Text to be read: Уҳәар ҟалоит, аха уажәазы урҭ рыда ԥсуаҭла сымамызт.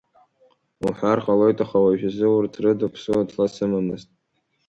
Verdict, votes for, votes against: rejected, 0, 2